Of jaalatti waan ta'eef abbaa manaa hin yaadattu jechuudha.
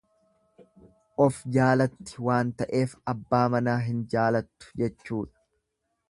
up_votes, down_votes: 1, 2